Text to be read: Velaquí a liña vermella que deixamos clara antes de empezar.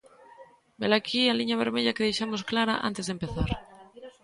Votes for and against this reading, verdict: 1, 2, rejected